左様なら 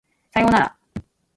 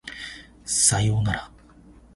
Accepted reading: first